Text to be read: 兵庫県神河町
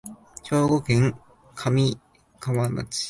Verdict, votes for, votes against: rejected, 1, 2